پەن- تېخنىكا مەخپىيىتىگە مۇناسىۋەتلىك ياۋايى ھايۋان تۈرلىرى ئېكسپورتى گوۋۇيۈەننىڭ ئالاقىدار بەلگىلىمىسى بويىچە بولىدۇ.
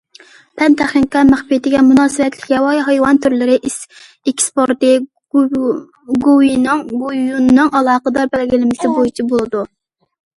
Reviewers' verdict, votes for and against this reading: rejected, 0, 2